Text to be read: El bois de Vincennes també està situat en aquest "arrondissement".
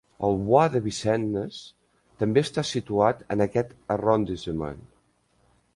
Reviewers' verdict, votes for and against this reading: rejected, 0, 2